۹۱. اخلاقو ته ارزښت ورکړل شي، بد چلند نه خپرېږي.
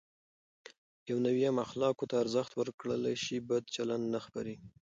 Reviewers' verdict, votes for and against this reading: rejected, 0, 2